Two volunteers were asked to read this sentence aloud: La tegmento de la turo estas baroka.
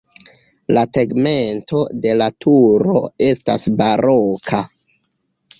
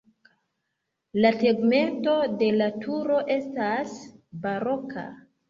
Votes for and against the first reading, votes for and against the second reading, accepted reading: 1, 2, 3, 1, second